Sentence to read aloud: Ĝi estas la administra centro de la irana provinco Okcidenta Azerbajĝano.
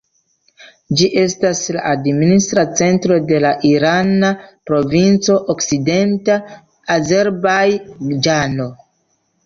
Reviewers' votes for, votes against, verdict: 1, 2, rejected